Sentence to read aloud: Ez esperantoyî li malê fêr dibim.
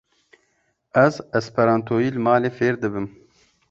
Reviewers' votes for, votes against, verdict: 2, 0, accepted